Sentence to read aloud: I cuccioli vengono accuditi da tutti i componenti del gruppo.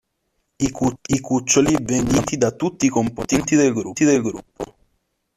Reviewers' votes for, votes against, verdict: 0, 2, rejected